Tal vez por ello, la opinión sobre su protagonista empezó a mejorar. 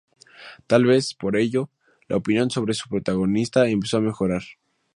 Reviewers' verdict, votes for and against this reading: accepted, 2, 0